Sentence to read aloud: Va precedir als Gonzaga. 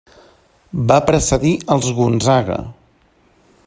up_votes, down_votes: 2, 0